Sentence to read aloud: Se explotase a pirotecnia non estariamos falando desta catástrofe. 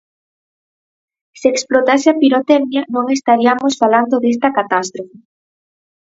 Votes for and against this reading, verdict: 4, 0, accepted